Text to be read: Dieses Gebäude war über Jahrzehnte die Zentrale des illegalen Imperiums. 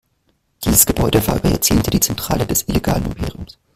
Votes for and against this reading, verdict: 1, 2, rejected